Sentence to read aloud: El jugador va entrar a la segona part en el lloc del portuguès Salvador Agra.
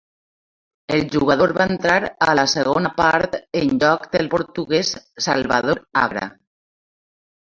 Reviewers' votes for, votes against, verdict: 0, 2, rejected